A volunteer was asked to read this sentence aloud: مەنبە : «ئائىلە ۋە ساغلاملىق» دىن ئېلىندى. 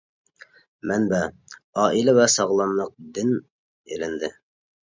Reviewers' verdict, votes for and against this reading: accepted, 2, 0